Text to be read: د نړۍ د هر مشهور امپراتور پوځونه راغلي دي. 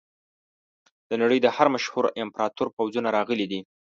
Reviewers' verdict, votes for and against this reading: accepted, 2, 0